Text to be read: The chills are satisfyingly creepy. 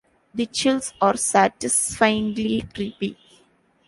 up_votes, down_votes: 2, 0